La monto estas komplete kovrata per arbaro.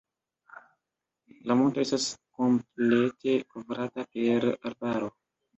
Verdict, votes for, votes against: rejected, 0, 2